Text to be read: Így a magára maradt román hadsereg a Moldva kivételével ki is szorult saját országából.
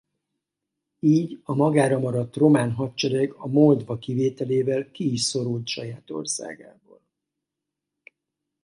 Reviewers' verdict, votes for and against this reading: accepted, 2, 0